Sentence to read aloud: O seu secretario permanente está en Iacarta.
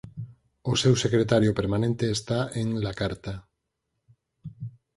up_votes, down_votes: 2, 4